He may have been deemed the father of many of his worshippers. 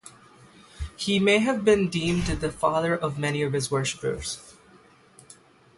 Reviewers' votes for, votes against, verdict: 0, 3, rejected